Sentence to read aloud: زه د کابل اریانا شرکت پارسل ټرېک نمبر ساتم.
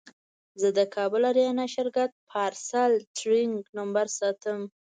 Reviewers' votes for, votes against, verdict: 2, 0, accepted